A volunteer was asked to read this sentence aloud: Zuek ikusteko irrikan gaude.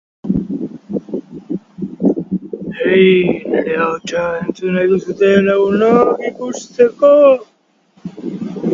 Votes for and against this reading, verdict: 0, 2, rejected